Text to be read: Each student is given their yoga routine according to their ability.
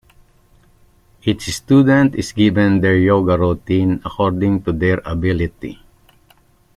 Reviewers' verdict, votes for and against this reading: accepted, 2, 1